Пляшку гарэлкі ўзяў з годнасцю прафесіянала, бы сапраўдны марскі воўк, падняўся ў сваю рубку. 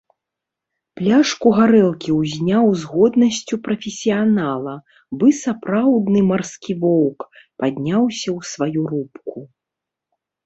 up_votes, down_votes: 1, 2